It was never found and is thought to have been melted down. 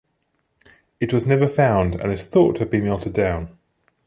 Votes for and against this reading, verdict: 1, 2, rejected